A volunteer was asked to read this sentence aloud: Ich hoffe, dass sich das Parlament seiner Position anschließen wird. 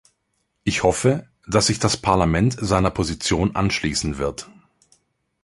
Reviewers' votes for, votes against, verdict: 2, 0, accepted